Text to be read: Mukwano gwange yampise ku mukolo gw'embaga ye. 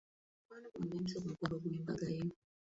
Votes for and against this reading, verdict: 0, 2, rejected